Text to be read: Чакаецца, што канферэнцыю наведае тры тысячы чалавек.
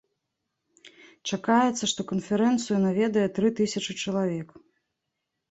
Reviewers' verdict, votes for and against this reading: accepted, 2, 0